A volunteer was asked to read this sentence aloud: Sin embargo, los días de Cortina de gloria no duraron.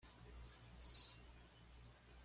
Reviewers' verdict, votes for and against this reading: rejected, 1, 2